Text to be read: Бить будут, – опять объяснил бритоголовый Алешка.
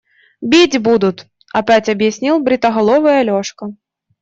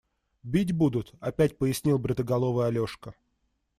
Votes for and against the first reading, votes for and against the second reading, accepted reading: 2, 0, 1, 2, first